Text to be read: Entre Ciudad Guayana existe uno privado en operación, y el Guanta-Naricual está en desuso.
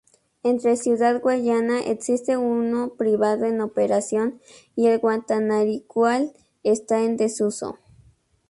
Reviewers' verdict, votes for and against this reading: rejected, 0, 2